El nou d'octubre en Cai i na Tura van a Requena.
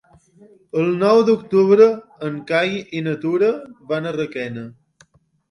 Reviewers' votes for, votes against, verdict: 3, 0, accepted